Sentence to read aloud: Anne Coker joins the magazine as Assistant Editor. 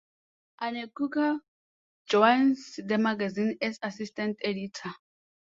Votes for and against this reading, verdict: 2, 0, accepted